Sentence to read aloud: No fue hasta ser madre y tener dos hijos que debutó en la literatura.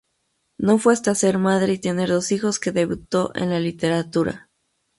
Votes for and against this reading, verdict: 2, 0, accepted